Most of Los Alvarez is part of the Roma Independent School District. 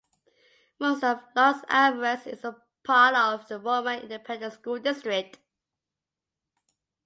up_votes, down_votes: 2, 1